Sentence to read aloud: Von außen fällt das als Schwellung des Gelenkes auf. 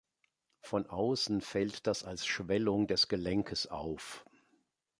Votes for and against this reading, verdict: 2, 0, accepted